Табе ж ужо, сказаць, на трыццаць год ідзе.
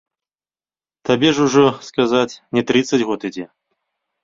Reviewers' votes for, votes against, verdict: 1, 2, rejected